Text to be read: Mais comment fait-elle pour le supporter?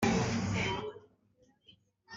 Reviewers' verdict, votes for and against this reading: rejected, 0, 2